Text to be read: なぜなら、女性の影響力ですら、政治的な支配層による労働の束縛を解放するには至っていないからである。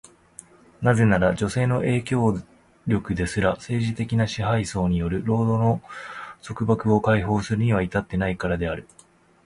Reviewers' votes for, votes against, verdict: 2, 0, accepted